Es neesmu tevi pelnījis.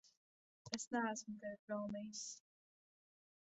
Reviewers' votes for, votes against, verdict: 0, 2, rejected